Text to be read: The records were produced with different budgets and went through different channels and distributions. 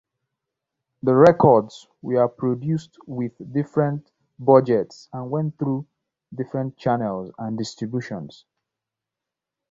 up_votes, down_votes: 0, 2